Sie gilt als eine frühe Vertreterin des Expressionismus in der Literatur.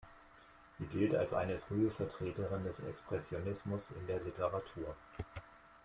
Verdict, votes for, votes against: accepted, 2, 0